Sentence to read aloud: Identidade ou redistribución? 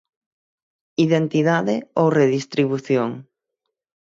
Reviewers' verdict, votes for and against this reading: accepted, 6, 0